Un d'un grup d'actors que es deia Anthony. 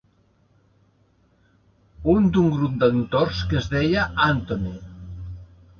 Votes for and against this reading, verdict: 1, 3, rejected